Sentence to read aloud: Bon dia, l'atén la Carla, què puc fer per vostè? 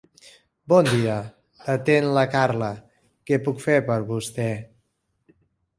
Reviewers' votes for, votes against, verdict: 2, 0, accepted